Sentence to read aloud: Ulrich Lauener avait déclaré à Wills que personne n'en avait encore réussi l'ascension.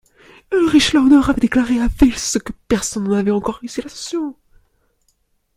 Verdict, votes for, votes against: rejected, 0, 2